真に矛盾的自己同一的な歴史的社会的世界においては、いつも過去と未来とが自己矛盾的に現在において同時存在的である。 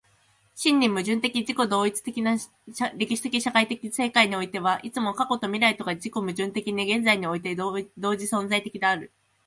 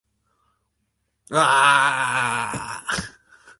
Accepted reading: first